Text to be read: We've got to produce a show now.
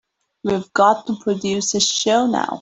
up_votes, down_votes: 3, 0